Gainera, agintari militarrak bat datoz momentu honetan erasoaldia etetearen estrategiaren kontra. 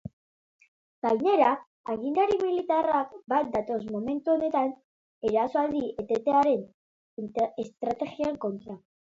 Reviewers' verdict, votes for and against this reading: rejected, 0, 2